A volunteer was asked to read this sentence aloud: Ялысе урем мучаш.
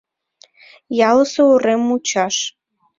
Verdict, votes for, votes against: accepted, 2, 0